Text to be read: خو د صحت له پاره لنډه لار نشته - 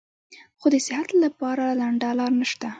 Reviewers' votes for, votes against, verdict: 2, 3, rejected